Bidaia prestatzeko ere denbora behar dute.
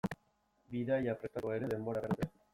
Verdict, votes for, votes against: rejected, 0, 2